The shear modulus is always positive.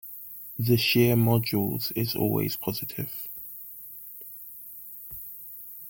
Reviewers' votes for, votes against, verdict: 0, 2, rejected